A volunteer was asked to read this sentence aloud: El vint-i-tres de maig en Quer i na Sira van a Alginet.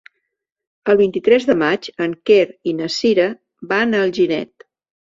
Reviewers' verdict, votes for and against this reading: accepted, 2, 0